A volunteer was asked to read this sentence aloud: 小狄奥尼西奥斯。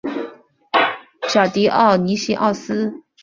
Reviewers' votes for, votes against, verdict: 7, 0, accepted